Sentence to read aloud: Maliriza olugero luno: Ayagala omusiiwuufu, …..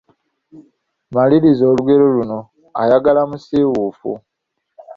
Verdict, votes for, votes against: rejected, 0, 2